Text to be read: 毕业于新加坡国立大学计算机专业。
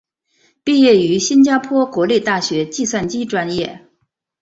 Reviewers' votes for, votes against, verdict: 2, 1, accepted